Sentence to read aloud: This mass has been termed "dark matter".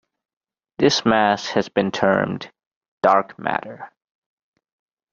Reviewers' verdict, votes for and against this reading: accepted, 2, 0